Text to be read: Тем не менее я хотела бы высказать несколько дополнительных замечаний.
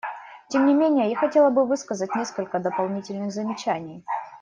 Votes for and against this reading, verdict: 1, 2, rejected